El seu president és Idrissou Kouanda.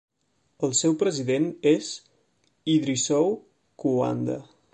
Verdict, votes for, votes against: rejected, 0, 2